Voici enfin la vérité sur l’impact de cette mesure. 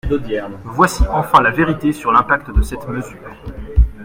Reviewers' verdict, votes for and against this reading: rejected, 1, 2